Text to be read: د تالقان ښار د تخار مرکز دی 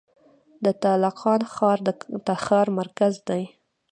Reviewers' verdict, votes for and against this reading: accepted, 2, 0